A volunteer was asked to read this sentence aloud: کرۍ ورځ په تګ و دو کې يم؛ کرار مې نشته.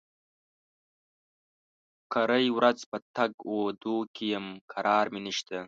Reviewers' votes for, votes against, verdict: 2, 0, accepted